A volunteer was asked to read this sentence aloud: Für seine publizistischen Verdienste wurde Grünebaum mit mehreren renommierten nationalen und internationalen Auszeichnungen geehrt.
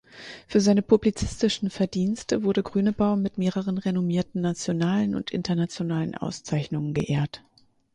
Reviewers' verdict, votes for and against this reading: accepted, 4, 0